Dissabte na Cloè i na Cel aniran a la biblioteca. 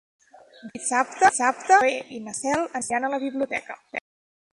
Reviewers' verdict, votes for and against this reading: rejected, 0, 2